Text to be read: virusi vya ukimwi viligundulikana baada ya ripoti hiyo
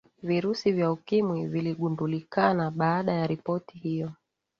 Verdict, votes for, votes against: accepted, 9, 1